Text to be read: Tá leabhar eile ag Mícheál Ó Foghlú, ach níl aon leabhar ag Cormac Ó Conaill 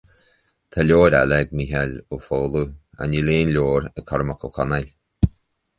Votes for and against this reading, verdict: 2, 0, accepted